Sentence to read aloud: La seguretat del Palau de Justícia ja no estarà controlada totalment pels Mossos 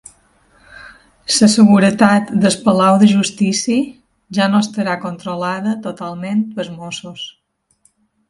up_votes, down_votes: 0, 3